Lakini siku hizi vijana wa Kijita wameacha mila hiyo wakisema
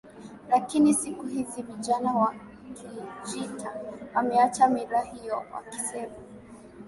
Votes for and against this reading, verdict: 14, 2, accepted